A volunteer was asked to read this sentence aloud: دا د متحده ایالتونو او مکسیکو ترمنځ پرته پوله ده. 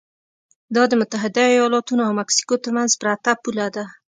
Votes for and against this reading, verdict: 3, 0, accepted